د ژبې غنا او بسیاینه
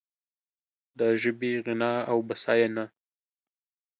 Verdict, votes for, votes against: accepted, 2, 0